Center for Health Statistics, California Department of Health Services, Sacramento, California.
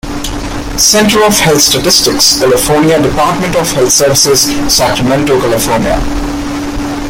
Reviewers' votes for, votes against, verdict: 2, 3, rejected